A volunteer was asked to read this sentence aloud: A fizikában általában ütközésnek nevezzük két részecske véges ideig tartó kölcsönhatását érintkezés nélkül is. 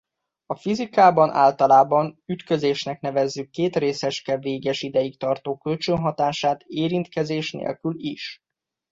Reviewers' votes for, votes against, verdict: 2, 1, accepted